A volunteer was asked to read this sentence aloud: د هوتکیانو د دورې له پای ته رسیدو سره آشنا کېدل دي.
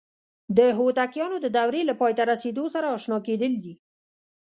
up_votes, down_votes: 2, 0